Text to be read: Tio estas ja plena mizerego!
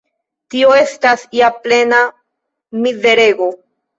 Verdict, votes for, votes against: accepted, 2, 1